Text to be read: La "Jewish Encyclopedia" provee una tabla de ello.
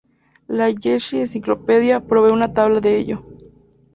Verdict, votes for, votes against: rejected, 0, 2